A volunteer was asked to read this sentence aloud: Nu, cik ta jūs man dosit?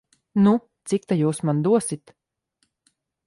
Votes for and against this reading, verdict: 2, 0, accepted